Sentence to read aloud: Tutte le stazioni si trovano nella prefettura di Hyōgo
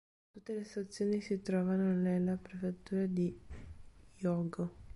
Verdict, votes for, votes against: accepted, 3, 0